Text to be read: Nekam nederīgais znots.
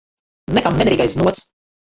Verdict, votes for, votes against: rejected, 0, 3